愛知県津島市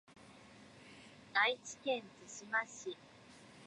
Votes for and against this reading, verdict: 1, 2, rejected